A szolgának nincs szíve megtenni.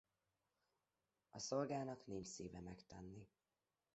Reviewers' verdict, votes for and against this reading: rejected, 1, 2